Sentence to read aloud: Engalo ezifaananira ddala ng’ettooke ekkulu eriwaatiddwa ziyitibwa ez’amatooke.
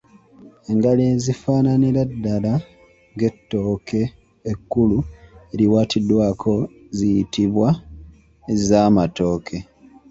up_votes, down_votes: 1, 2